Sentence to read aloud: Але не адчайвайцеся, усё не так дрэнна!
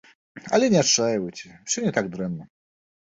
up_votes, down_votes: 1, 2